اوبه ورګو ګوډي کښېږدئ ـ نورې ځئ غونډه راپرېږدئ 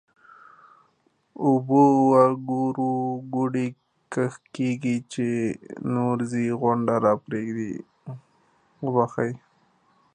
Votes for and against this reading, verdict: 0, 2, rejected